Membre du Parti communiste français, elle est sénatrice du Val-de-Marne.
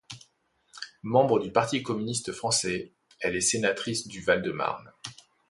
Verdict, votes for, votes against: accepted, 2, 0